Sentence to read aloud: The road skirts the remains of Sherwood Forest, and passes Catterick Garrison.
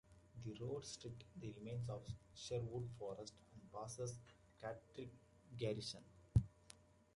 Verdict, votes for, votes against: rejected, 1, 2